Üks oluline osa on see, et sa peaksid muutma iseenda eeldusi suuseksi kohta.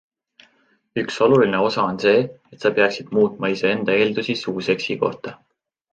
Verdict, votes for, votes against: accepted, 2, 0